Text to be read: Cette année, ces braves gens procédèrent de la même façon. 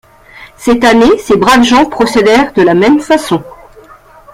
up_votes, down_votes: 2, 0